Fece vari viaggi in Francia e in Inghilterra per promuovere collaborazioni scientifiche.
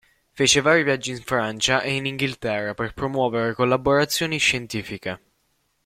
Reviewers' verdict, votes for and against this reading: accepted, 2, 1